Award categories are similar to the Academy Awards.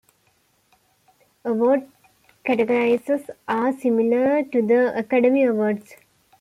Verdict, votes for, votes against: accepted, 2, 1